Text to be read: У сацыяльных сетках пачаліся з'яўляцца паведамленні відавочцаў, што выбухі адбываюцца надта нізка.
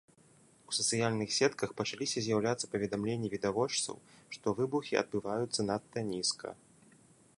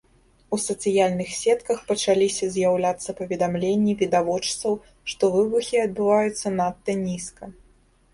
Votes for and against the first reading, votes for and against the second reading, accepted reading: 2, 0, 1, 2, first